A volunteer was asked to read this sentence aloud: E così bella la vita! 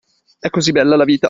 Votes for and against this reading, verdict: 2, 0, accepted